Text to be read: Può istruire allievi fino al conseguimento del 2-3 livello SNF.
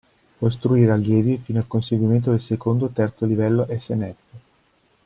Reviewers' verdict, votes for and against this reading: rejected, 0, 2